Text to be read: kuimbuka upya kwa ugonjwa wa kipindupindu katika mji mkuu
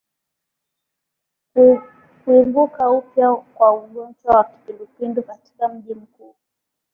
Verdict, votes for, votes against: rejected, 0, 2